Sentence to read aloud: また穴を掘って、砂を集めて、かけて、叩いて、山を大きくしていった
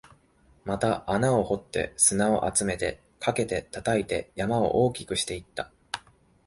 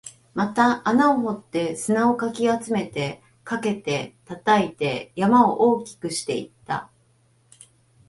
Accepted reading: first